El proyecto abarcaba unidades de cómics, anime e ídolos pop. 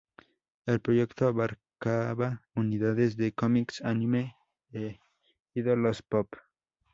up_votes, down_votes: 4, 2